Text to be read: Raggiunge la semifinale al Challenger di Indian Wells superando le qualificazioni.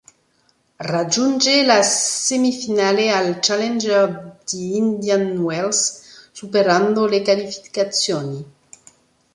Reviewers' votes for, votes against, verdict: 1, 2, rejected